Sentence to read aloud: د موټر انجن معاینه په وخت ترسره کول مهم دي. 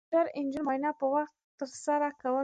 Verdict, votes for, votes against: rejected, 0, 2